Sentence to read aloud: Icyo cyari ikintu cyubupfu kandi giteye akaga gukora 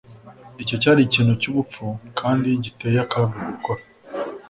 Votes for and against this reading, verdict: 2, 0, accepted